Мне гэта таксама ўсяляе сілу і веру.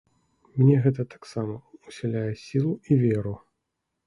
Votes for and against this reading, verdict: 2, 0, accepted